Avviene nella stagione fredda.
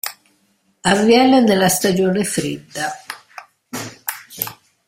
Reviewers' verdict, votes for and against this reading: accepted, 2, 0